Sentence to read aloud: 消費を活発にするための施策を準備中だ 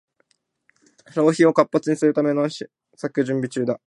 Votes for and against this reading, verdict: 0, 2, rejected